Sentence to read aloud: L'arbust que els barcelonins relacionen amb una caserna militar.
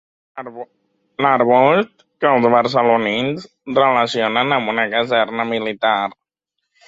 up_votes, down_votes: 1, 2